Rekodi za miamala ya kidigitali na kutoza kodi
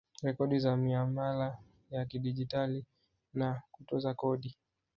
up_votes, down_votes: 2, 0